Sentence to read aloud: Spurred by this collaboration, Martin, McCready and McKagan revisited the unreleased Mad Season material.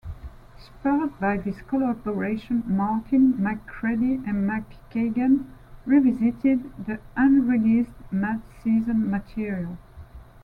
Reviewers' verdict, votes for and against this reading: accepted, 2, 0